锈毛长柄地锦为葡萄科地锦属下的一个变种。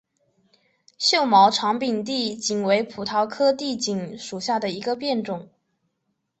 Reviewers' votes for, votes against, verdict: 0, 2, rejected